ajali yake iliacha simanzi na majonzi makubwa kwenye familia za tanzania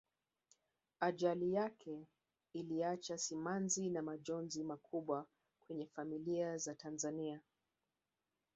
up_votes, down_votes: 1, 2